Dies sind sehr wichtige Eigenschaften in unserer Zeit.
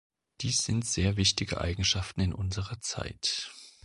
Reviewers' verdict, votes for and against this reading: accepted, 2, 0